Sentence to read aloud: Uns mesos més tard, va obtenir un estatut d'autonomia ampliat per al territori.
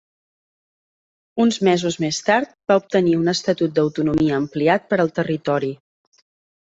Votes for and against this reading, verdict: 3, 0, accepted